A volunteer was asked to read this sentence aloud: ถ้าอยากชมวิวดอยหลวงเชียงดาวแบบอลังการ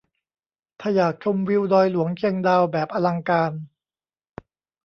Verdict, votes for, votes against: rejected, 1, 2